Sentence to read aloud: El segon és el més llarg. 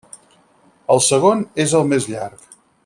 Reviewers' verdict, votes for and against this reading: rejected, 0, 4